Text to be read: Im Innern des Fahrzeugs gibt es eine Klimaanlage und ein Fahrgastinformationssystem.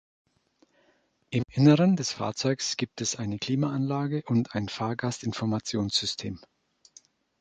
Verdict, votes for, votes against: rejected, 0, 2